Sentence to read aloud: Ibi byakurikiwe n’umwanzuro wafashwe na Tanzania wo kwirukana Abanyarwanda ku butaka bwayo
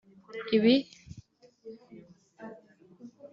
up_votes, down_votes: 0, 2